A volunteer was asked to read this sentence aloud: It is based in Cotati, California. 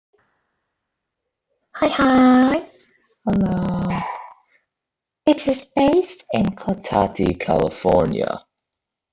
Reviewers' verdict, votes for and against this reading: rejected, 0, 2